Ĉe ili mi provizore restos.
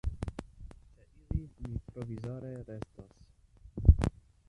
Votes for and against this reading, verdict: 0, 2, rejected